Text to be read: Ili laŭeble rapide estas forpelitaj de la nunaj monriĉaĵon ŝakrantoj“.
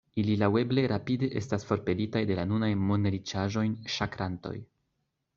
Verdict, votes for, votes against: accepted, 2, 0